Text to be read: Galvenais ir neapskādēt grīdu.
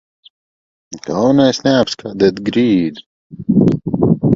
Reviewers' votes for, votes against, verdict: 0, 2, rejected